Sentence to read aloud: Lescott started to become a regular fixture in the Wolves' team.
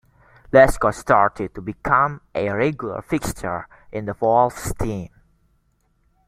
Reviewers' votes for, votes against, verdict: 2, 0, accepted